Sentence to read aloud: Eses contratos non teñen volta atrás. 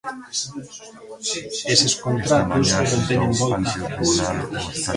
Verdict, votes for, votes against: accepted, 2, 1